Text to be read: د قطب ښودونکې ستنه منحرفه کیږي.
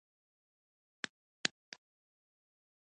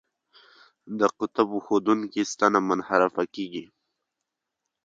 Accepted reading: second